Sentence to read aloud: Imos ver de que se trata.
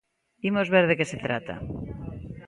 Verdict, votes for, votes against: accepted, 2, 0